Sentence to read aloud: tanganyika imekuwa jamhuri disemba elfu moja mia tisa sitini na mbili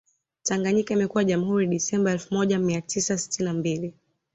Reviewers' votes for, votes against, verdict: 2, 0, accepted